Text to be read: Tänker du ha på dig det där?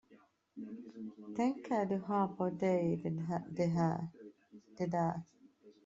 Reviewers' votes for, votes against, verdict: 0, 2, rejected